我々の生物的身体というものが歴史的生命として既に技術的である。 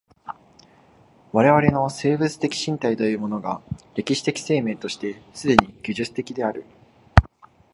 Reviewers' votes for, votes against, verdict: 2, 0, accepted